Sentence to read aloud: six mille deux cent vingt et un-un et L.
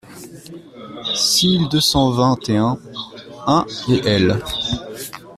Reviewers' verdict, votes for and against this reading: accepted, 2, 1